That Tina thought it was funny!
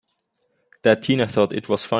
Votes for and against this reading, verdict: 0, 2, rejected